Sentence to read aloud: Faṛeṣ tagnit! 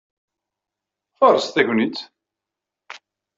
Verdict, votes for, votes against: accepted, 2, 0